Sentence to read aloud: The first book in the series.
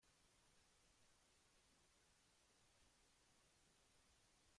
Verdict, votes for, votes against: rejected, 0, 2